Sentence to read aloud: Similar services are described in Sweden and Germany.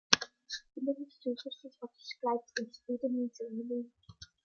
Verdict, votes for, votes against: rejected, 1, 2